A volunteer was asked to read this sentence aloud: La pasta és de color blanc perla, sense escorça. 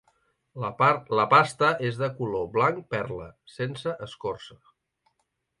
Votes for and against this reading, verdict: 0, 2, rejected